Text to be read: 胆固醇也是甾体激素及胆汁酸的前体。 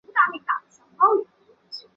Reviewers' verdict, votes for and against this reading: rejected, 1, 2